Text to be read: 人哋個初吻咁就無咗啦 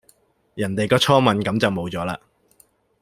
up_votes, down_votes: 2, 0